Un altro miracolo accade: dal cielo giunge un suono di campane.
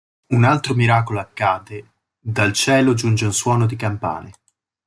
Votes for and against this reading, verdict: 2, 0, accepted